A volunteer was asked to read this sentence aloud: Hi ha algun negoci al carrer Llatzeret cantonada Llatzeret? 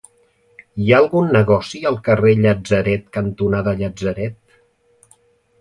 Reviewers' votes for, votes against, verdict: 2, 0, accepted